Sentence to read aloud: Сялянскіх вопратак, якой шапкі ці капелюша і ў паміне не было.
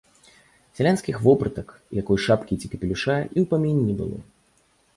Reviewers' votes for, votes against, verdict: 2, 0, accepted